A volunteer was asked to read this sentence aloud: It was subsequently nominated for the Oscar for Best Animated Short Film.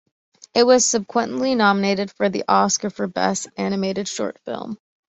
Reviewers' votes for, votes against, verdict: 1, 2, rejected